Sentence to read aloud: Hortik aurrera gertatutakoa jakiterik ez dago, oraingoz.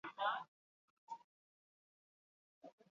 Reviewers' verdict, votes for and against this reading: rejected, 0, 2